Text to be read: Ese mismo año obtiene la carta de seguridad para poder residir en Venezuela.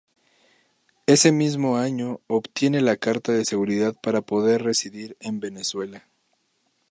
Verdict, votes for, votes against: accepted, 2, 0